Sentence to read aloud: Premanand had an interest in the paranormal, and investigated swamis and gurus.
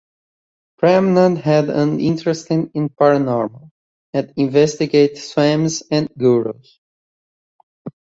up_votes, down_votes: 1, 2